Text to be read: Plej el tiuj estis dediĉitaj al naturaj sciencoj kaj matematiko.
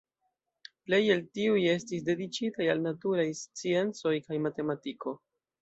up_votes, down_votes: 2, 0